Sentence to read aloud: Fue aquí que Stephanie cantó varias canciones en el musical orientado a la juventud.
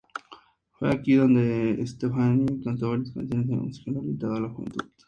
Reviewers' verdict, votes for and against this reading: rejected, 0, 2